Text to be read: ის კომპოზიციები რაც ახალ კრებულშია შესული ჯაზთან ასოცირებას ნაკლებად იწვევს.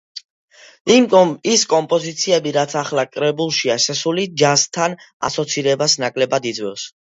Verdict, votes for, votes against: rejected, 0, 2